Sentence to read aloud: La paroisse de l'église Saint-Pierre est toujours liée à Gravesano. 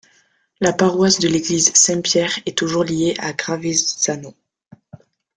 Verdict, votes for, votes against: accepted, 3, 2